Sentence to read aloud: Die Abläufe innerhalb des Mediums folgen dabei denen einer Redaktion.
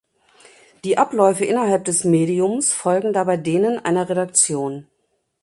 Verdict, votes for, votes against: accepted, 2, 0